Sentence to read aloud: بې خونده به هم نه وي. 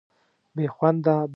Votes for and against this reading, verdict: 1, 2, rejected